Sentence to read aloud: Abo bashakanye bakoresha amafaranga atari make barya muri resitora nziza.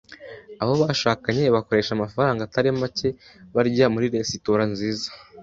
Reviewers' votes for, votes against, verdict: 2, 0, accepted